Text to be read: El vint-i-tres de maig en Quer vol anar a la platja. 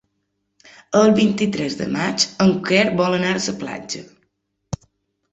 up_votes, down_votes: 0, 2